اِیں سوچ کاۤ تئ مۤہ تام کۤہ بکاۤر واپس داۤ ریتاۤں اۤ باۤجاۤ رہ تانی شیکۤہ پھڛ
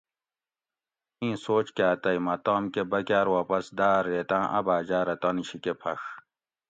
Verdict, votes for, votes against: accepted, 2, 0